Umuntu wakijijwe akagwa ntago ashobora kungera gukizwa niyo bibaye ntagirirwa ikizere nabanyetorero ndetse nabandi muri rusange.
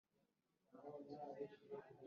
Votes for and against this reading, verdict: 0, 3, rejected